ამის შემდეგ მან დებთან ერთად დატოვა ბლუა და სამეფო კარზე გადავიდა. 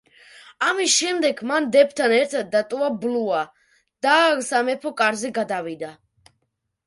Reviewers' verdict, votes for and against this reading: rejected, 0, 2